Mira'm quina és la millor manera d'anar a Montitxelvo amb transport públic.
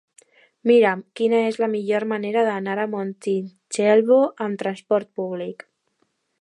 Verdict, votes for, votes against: accepted, 2, 0